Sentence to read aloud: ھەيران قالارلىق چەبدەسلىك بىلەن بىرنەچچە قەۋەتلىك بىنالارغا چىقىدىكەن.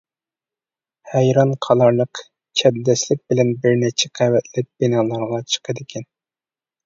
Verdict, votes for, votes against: accepted, 2, 0